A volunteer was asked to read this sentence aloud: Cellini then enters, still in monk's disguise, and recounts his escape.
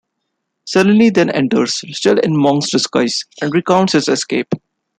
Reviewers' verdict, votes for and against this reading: rejected, 1, 2